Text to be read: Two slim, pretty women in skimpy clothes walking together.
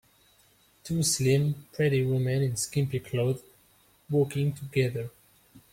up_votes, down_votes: 2, 0